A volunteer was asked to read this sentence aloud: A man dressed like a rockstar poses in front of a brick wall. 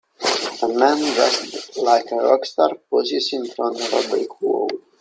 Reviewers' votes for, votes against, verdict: 1, 2, rejected